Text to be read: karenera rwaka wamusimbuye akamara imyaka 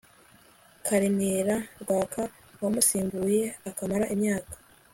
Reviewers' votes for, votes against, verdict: 2, 0, accepted